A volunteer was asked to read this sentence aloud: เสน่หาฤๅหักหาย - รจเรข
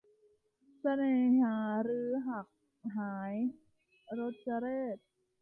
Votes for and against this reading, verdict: 1, 2, rejected